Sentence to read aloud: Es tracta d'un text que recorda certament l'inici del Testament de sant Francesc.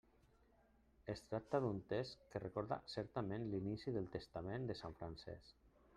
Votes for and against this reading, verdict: 1, 2, rejected